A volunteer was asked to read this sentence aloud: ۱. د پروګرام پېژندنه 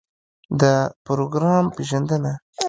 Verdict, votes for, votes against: rejected, 0, 2